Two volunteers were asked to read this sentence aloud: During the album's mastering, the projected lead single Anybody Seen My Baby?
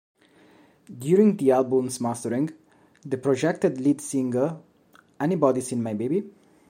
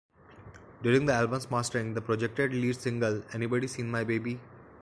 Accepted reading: first